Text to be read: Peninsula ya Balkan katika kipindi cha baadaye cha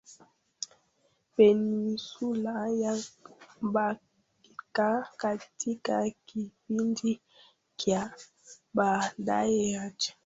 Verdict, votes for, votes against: rejected, 0, 3